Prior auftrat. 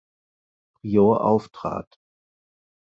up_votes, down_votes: 0, 4